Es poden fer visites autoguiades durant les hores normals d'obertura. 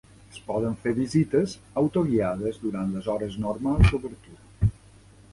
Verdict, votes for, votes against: accepted, 2, 1